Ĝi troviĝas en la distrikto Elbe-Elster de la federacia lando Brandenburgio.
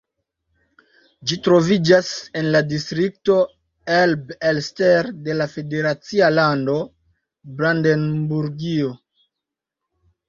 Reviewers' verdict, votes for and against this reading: accepted, 2, 1